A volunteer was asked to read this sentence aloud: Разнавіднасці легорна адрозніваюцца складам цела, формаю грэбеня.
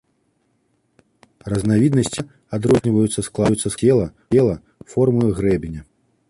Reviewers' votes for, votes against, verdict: 0, 2, rejected